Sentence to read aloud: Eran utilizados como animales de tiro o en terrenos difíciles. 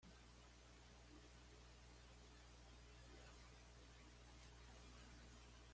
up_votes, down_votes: 2, 0